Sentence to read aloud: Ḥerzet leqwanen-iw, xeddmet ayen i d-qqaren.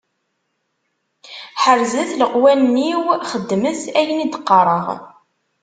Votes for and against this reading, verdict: 1, 2, rejected